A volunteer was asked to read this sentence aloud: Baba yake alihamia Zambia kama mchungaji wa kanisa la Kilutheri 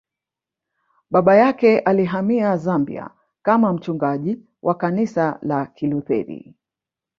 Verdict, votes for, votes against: rejected, 1, 2